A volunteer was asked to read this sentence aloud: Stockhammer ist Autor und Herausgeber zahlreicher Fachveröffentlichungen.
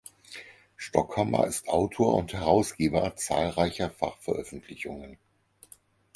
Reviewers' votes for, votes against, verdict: 4, 0, accepted